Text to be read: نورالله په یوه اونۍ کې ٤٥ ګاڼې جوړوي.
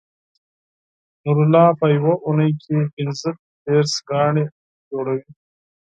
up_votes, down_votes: 0, 2